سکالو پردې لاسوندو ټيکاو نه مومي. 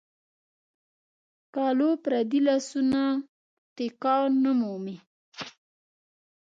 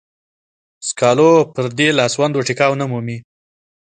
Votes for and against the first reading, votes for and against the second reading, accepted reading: 1, 2, 2, 0, second